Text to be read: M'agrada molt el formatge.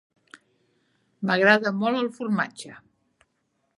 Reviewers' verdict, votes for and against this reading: accepted, 3, 0